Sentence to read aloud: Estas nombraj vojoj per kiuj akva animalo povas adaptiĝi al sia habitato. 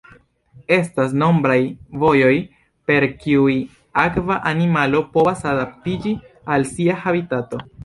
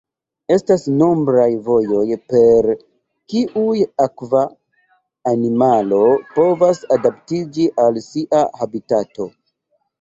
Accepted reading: first